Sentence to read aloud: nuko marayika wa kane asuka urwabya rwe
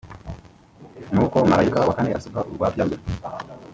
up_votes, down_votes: 2, 1